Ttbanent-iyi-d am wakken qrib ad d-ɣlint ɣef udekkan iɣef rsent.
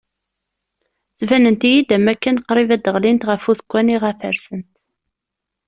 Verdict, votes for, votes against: rejected, 1, 2